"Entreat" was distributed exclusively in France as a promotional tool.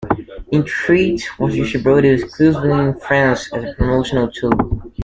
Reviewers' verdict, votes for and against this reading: rejected, 0, 2